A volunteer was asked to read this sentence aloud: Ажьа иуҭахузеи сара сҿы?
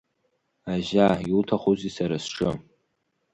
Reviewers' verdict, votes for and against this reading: accepted, 3, 0